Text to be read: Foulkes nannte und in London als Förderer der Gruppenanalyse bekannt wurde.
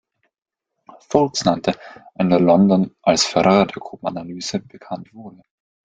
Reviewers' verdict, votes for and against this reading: rejected, 0, 2